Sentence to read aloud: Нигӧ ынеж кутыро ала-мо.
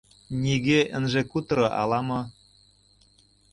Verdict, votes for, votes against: rejected, 1, 2